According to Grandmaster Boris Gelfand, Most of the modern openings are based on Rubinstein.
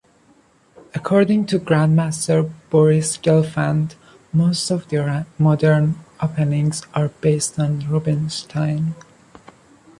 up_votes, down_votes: 0, 2